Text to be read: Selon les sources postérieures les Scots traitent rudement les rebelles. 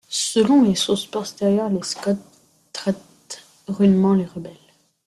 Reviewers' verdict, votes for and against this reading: accepted, 2, 0